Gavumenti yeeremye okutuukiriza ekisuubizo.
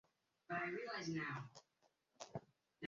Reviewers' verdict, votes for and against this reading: rejected, 0, 3